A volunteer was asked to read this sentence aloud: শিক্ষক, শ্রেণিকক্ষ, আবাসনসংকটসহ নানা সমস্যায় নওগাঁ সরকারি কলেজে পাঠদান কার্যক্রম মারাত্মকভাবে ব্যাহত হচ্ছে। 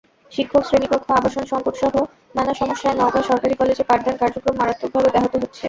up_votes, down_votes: 2, 0